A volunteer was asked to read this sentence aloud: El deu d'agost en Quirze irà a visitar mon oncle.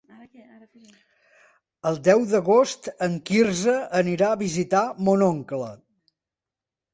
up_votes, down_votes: 0, 2